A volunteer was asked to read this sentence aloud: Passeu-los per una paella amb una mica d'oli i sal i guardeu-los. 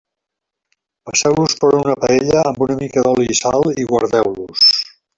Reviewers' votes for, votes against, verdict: 0, 2, rejected